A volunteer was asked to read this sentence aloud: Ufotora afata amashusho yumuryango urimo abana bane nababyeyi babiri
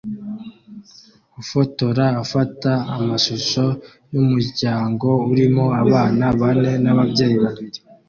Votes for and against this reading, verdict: 2, 0, accepted